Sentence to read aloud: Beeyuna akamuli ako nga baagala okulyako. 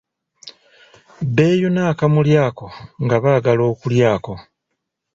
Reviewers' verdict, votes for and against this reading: accepted, 2, 0